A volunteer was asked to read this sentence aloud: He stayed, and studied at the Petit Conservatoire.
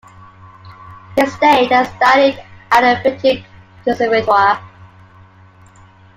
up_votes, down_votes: 1, 2